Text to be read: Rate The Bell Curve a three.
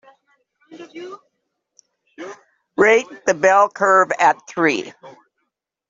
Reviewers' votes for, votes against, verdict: 3, 0, accepted